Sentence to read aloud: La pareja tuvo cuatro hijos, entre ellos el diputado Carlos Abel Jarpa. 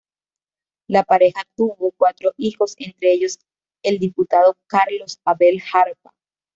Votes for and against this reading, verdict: 2, 0, accepted